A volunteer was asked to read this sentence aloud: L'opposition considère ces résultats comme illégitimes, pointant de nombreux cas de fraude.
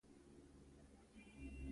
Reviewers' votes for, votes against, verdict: 0, 2, rejected